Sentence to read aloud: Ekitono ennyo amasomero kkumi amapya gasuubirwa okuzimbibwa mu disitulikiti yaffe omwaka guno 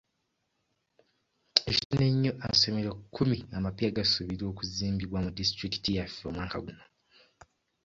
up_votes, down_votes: 1, 2